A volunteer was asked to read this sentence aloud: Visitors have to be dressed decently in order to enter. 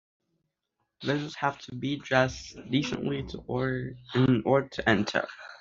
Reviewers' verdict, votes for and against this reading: rejected, 0, 2